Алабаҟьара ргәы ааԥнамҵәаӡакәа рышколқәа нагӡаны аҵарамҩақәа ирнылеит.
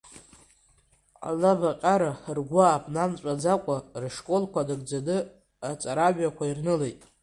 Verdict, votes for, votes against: rejected, 0, 2